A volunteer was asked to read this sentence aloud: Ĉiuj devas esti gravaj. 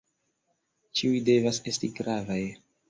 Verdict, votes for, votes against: accepted, 2, 0